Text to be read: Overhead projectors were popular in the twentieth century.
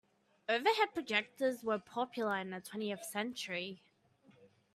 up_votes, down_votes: 2, 0